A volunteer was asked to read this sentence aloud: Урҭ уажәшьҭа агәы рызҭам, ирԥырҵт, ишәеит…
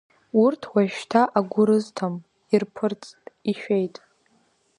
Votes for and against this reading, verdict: 0, 2, rejected